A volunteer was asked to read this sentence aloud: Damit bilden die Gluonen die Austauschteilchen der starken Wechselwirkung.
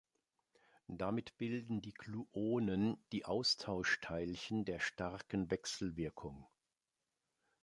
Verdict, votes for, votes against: accepted, 3, 0